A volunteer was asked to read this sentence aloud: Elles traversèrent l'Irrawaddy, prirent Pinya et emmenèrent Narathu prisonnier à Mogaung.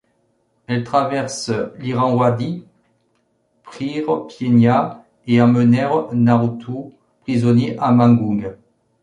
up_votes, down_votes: 0, 2